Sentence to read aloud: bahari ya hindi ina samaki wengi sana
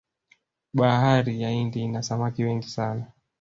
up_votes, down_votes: 0, 2